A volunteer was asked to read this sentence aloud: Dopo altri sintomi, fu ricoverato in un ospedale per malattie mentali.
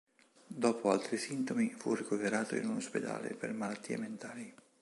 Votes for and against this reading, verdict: 2, 0, accepted